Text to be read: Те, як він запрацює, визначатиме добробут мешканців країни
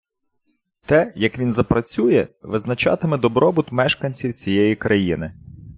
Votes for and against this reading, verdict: 0, 2, rejected